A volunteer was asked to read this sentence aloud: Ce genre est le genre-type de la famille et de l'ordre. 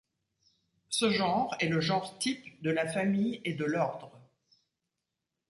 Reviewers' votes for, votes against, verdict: 2, 0, accepted